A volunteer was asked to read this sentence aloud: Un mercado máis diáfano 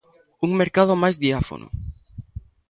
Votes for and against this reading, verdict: 2, 0, accepted